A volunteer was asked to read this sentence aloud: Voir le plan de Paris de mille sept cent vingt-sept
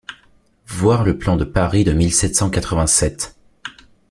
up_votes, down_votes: 0, 2